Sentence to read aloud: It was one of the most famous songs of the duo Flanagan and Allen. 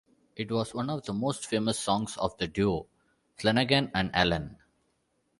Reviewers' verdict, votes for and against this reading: accepted, 2, 0